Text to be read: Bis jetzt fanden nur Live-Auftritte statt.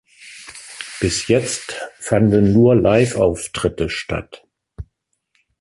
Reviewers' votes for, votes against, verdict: 1, 2, rejected